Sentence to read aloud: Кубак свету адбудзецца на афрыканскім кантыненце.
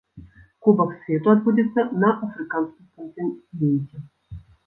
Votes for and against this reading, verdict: 0, 2, rejected